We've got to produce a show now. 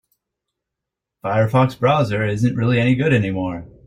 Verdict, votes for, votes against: rejected, 0, 4